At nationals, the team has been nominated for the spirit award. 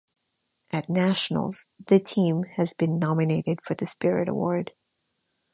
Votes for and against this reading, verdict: 2, 1, accepted